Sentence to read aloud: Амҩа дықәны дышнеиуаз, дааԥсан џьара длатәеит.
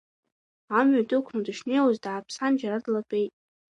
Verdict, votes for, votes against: accepted, 2, 0